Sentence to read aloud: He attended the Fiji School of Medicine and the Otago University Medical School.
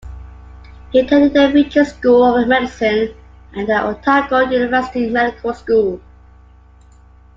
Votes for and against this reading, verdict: 2, 1, accepted